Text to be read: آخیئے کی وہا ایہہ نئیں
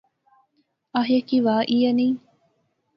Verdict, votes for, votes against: rejected, 0, 2